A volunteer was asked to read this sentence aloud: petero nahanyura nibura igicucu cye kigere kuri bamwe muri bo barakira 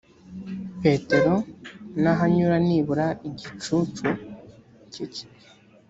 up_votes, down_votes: 0, 2